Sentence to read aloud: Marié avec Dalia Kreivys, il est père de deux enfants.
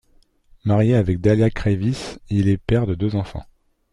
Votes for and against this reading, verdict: 2, 0, accepted